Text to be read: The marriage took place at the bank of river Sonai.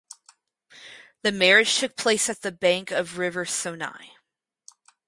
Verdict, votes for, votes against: accepted, 4, 0